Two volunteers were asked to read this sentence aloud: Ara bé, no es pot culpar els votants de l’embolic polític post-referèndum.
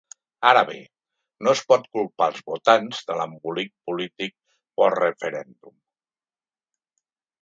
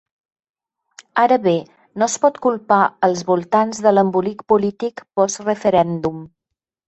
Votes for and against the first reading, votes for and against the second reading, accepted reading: 2, 0, 1, 2, first